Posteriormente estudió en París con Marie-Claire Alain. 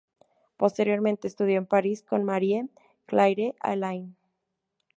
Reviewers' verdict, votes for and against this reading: rejected, 0, 2